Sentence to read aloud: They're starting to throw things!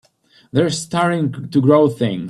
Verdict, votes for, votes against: rejected, 0, 2